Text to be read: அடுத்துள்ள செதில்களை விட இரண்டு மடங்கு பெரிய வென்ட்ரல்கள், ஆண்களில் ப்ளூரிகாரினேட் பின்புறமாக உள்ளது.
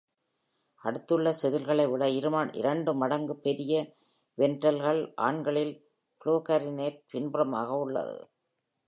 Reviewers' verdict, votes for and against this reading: rejected, 1, 3